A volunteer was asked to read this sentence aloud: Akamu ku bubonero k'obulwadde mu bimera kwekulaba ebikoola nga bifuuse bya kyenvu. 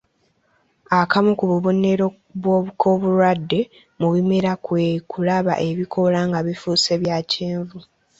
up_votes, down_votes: 1, 2